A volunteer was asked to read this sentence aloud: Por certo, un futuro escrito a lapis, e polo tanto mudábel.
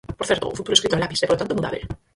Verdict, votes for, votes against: rejected, 0, 4